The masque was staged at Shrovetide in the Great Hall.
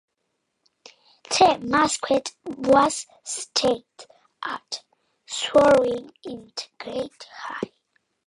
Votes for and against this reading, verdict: 0, 2, rejected